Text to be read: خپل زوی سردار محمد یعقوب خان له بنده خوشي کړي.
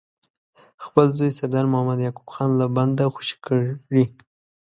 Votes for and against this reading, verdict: 2, 1, accepted